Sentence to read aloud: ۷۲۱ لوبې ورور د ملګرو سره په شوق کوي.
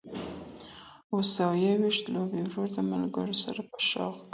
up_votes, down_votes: 0, 2